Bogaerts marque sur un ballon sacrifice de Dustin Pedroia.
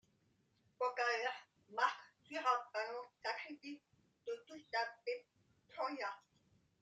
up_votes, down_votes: 1, 3